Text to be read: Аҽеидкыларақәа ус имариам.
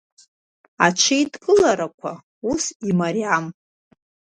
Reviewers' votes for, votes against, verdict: 2, 0, accepted